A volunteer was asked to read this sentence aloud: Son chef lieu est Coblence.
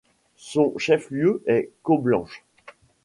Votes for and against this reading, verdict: 0, 2, rejected